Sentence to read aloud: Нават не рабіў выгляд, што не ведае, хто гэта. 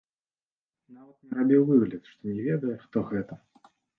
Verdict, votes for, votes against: rejected, 0, 2